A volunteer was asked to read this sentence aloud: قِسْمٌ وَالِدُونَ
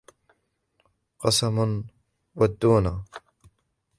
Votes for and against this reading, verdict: 1, 3, rejected